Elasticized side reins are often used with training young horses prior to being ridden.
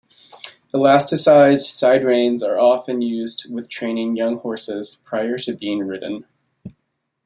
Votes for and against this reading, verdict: 2, 0, accepted